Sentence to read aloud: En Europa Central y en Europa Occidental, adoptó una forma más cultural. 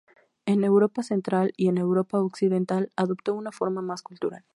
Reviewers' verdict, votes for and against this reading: accepted, 2, 0